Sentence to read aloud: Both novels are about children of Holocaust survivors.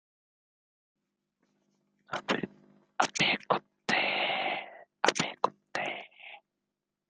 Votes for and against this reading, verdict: 0, 2, rejected